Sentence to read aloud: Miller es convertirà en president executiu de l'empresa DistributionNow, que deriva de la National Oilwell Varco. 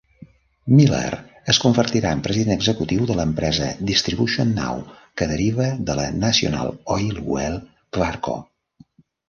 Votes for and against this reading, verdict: 1, 2, rejected